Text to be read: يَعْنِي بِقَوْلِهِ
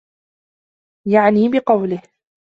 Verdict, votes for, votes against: accepted, 2, 0